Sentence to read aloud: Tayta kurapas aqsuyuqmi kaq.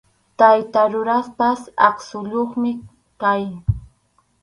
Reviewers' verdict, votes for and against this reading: rejected, 2, 2